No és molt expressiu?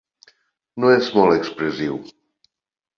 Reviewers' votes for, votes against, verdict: 0, 2, rejected